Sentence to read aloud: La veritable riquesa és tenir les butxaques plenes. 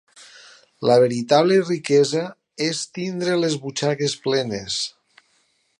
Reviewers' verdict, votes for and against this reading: rejected, 0, 4